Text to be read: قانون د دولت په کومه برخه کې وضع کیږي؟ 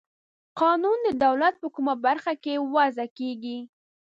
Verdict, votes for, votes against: accepted, 2, 0